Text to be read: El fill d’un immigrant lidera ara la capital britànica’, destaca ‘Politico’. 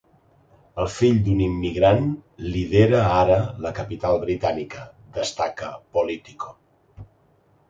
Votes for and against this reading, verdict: 2, 0, accepted